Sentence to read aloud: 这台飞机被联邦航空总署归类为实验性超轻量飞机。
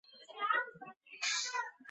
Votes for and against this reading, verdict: 1, 5, rejected